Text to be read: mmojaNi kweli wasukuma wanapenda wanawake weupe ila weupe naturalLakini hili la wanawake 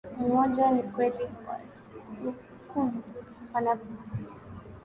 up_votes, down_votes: 1, 2